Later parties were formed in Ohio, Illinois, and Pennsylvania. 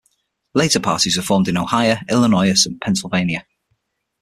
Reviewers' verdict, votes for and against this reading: accepted, 6, 3